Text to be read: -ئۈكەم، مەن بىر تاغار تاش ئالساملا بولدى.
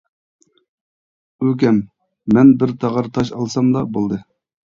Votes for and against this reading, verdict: 1, 2, rejected